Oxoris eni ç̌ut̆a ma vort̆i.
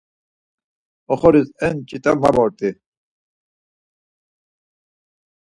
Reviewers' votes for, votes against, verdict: 4, 2, accepted